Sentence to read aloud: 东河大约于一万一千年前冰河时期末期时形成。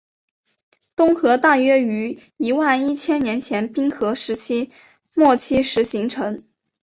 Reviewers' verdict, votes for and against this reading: accepted, 3, 1